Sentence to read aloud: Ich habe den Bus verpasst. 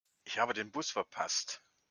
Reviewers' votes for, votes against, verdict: 2, 0, accepted